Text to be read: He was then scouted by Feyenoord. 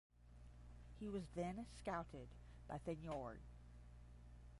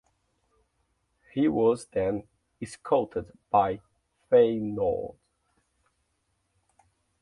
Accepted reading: second